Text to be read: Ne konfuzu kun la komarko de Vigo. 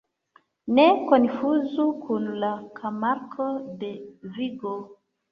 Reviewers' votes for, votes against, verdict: 0, 2, rejected